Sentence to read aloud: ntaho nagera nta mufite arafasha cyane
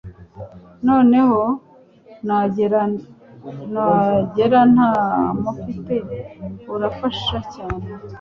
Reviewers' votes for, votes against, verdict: 1, 2, rejected